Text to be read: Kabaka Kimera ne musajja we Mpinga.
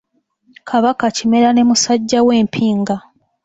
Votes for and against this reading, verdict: 2, 0, accepted